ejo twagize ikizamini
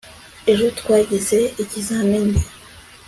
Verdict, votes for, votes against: accepted, 2, 0